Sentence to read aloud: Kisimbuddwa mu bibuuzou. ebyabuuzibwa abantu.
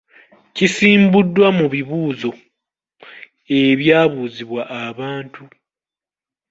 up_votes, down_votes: 2, 1